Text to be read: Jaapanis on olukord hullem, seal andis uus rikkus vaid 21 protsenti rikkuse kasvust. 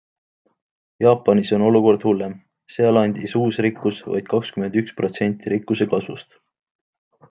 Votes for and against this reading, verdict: 0, 2, rejected